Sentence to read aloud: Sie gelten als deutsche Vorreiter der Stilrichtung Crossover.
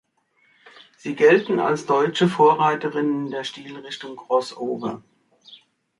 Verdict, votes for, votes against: rejected, 1, 2